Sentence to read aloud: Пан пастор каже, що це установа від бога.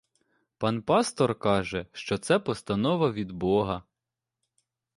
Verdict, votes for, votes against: rejected, 0, 2